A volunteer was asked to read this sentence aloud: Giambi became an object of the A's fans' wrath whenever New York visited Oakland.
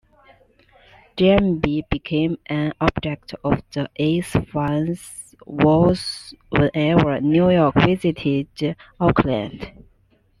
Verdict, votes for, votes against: accepted, 2, 1